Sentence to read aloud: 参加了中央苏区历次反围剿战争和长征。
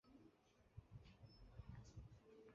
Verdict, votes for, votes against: accepted, 4, 1